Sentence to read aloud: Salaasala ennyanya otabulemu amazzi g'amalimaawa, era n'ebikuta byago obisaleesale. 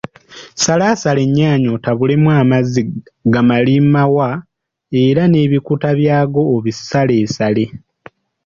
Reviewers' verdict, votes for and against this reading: rejected, 0, 2